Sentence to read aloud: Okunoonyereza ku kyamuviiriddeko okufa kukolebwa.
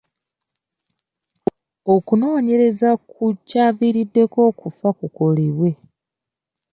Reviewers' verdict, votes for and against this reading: rejected, 0, 2